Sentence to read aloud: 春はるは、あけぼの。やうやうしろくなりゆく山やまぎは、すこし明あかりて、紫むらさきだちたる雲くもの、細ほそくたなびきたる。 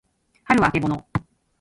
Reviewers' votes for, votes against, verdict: 0, 2, rejected